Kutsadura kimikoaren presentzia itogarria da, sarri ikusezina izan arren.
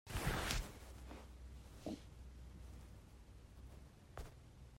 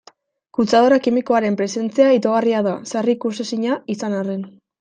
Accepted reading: second